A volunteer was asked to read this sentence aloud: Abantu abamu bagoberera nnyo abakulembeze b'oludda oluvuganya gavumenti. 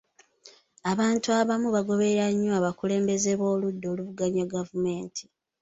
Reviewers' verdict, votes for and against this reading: accepted, 2, 0